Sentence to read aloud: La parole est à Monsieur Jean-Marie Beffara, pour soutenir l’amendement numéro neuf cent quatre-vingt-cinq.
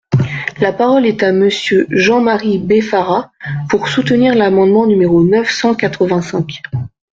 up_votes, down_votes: 2, 0